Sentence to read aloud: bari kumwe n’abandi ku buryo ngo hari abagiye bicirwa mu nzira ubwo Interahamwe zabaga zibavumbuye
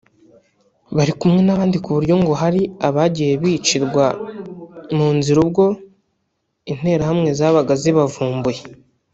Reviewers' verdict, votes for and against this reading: rejected, 1, 2